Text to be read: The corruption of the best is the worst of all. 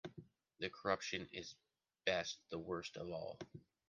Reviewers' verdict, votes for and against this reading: rejected, 0, 2